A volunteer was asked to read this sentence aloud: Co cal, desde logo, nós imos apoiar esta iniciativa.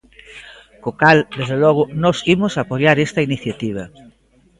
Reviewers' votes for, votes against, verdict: 2, 0, accepted